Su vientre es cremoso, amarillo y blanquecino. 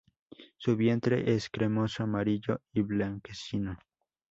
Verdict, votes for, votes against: accepted, 2, 0